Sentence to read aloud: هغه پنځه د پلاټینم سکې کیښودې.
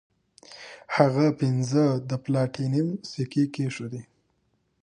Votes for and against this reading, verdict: 2, 1, accepted